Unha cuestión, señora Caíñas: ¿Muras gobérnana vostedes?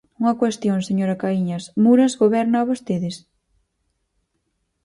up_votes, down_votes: 0, 6